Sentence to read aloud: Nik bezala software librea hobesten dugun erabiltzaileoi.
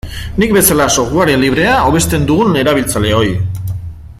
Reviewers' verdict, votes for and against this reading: accepted, 2, 1